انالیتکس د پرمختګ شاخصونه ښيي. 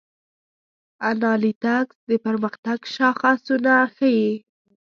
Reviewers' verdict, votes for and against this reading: rejected, 0, 2